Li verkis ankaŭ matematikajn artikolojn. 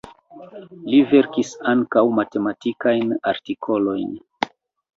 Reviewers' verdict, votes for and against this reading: accepted, 2, 0